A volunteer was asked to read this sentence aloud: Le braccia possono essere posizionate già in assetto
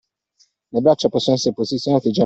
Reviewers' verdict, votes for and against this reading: rejected, 1, 2